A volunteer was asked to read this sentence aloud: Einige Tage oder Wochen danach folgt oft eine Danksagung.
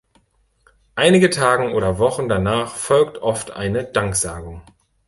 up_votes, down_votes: 1, 2